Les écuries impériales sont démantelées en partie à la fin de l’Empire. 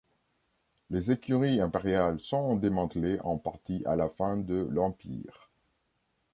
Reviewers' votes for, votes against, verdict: 2, 0, accepted